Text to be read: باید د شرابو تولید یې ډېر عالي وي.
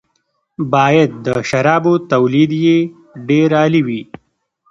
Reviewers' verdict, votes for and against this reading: rejected, 1, 2